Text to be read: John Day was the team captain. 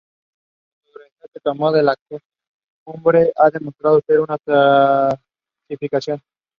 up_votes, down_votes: 0, 2